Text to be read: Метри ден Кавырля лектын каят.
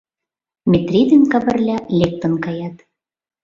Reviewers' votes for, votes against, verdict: 2, 0, accepted